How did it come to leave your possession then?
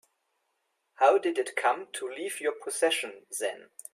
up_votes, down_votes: 2, 0